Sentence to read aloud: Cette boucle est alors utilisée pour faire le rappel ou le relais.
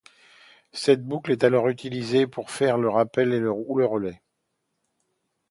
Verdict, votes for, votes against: rejected, 1, 2